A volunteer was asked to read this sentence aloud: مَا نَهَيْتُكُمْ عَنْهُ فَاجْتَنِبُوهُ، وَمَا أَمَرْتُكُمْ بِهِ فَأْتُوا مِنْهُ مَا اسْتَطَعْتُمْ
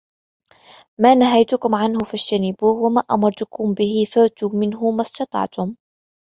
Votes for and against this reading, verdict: 3, 2, accepted